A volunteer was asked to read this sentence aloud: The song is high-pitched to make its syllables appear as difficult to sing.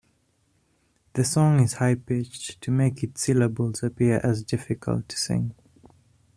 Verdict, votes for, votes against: accepted, 2, 0